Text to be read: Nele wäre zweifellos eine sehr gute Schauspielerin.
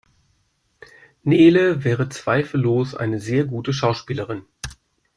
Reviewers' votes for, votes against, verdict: 2, 0, accepted